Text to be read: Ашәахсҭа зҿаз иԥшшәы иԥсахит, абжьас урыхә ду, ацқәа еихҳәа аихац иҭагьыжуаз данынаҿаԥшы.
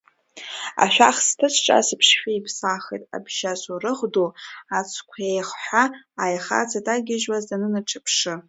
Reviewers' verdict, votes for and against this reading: rejected, 1, 2